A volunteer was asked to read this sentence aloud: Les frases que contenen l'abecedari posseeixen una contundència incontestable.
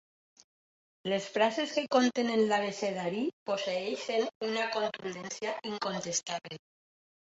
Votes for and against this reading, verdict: 0, 2, rejected